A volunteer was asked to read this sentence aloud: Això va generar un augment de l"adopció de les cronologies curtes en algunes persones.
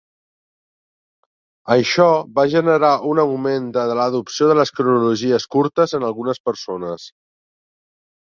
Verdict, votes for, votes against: rejected, 0, 2